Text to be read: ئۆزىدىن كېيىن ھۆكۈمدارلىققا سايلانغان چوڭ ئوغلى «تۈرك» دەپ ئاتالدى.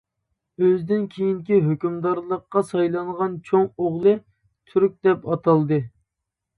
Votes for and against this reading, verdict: 0, 2, rejected